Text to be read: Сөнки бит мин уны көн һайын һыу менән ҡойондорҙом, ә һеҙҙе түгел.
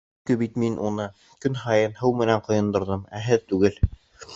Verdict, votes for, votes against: rejected, 1, 2